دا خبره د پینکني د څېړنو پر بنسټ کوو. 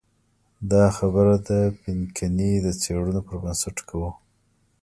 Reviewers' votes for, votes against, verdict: 2, 0, accepted